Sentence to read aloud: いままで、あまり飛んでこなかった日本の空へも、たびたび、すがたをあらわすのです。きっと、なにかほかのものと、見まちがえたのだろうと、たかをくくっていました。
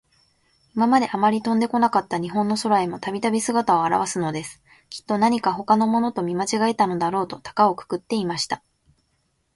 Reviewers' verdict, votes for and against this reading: accepted, 3, 0